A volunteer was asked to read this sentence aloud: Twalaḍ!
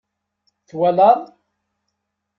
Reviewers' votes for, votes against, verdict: 2, 0, accepted